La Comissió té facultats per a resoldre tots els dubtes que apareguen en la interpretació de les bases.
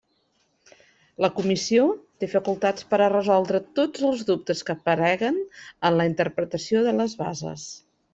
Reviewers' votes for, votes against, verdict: 2, 0, accepted